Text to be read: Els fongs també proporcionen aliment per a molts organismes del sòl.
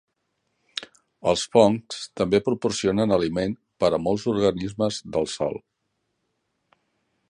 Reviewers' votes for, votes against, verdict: 2, 0, accepted